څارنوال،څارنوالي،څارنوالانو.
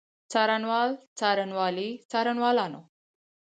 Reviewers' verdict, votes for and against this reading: accepted, 4, 2